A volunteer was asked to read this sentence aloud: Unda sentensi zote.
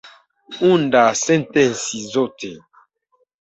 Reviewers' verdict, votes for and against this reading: rejected, 0, 2